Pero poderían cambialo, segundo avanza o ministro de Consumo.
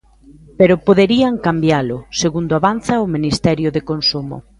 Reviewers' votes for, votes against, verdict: 0, 2, rejected